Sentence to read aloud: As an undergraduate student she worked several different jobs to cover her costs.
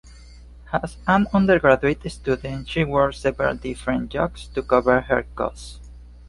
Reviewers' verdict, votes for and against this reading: rejected, 1, 2